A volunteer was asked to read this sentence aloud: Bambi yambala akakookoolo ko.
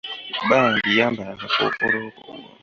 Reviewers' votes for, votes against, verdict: 2, 0, accepted